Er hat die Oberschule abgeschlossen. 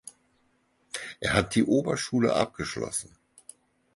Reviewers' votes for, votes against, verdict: 4, 0, accepted